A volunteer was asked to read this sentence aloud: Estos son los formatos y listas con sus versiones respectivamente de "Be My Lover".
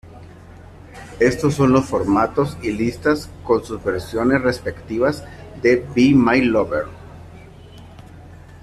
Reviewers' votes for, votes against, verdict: 0, 2, rejected